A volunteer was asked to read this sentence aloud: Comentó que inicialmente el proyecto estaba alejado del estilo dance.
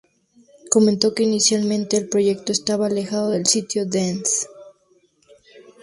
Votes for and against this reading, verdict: 0, 2, rejected